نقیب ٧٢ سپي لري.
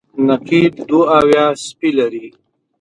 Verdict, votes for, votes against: rejected, 0, 2